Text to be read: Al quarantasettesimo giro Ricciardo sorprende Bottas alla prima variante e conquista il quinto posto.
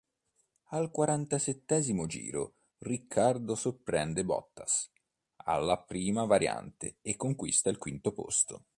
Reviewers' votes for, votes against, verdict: 2, 4, rejected